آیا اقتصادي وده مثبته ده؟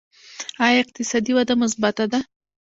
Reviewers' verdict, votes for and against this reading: accepted, 2, 0